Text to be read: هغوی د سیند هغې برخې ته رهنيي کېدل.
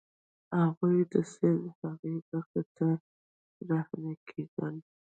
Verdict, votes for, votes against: rejected, 0, 2